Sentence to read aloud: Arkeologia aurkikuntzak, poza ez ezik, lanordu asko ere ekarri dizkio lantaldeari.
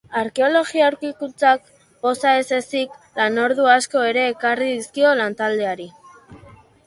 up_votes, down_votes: 2, 1